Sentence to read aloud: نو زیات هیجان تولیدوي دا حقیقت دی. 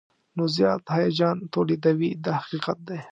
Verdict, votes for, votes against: accepted, 2, 0